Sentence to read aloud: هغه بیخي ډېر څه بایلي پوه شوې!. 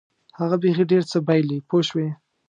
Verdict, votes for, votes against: accepted, 2, 0